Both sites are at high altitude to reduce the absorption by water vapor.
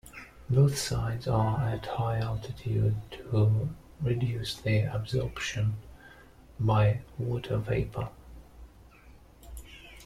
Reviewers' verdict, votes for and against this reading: rejected, 0, 2